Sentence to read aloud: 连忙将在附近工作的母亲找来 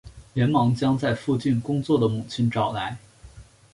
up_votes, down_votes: 3, 0